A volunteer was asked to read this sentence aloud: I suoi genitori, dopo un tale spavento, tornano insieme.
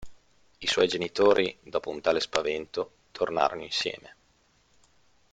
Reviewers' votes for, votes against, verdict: 0, 2, rejected